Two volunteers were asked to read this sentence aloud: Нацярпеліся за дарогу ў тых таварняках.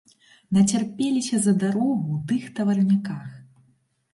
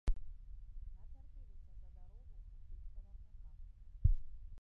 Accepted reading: first